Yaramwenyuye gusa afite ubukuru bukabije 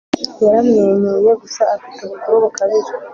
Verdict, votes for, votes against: accepted, 2, 0